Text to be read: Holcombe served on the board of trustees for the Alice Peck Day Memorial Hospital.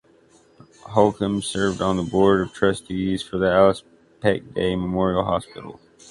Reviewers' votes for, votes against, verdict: 2, 0, accepted